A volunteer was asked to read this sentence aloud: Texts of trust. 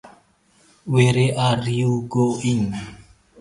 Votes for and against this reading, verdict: 0, 2, rejected